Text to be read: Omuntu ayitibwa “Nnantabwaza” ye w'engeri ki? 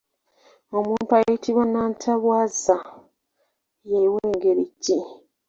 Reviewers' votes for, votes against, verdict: 2, 0, accepted